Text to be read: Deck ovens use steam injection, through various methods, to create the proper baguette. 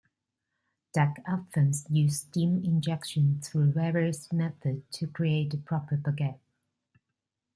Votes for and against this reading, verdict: 2, 0, accepted